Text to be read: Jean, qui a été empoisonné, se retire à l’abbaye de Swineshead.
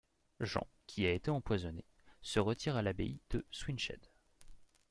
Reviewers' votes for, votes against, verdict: 2, 0, accepted